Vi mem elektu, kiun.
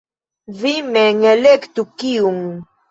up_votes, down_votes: 2, 1